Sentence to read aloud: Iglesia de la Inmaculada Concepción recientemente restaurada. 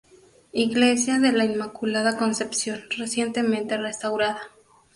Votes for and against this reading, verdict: 2, 0, accepted